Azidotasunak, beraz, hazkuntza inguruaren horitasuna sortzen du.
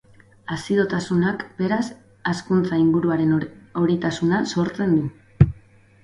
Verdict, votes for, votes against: rejected, 0, 2